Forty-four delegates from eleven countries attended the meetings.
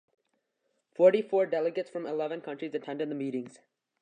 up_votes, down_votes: 3, 0